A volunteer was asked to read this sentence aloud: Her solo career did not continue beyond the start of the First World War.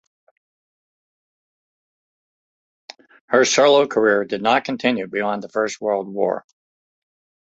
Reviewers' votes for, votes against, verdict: 0, 2, rejected